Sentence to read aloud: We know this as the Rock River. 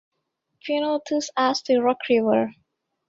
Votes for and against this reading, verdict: 1, 2, rejected